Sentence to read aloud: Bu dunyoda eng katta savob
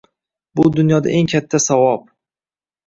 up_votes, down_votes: 2, 0